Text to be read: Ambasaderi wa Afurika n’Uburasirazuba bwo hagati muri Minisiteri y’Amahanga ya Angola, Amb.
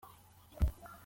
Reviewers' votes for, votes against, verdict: 0, 2, rejected